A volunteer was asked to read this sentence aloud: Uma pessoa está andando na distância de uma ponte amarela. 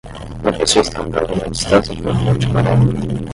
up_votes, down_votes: 5, 5